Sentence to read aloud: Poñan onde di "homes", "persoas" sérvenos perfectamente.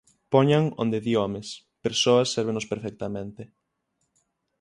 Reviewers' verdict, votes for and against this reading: accepted, 9, 0